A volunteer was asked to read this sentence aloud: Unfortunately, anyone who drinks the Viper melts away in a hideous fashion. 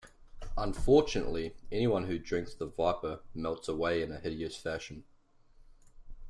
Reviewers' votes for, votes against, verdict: 2, 0, accepted